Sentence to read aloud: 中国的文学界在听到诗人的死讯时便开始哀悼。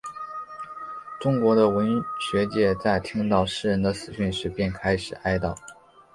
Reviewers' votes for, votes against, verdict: 5, 0, accepted